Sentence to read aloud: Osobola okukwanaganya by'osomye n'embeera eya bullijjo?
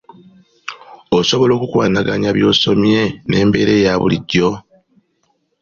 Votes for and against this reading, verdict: 2, 0, accepted